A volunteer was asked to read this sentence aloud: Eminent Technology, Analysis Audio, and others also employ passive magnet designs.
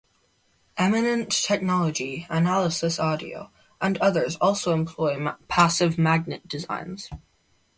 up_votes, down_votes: 0, 2